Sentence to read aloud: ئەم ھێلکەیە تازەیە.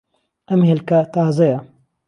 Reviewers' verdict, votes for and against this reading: rejected, 0, 2